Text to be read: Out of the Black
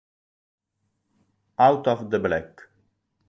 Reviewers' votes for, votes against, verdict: 2, 0, accepted